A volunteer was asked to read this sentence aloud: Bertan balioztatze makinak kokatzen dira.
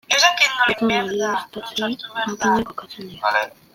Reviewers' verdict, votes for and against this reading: rejected, 0, 2